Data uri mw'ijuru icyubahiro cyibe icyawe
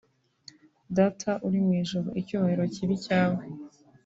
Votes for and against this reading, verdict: 4, 0, accepted